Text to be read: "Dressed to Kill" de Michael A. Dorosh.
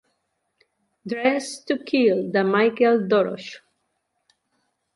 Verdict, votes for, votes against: rejected, 1, 2